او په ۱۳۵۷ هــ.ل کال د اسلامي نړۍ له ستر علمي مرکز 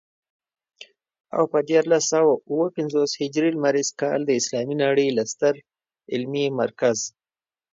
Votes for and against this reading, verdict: 0, 2, rejected